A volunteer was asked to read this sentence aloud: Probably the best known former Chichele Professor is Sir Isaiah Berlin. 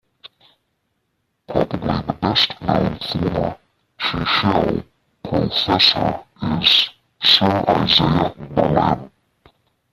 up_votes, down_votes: 0, 2